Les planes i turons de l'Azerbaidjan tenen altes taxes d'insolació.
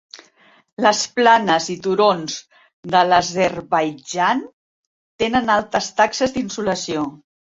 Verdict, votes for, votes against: accepted, 4, 0